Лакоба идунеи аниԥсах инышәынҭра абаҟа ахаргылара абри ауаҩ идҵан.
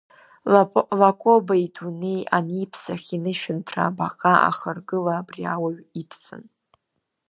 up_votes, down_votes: 1, 2